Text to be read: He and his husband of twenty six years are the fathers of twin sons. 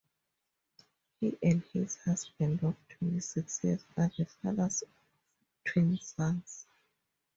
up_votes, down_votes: 0, 2